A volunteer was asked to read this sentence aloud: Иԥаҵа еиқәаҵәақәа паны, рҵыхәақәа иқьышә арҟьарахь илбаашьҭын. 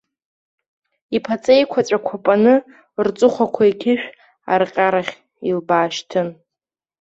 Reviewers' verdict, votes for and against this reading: accepted, 2, 0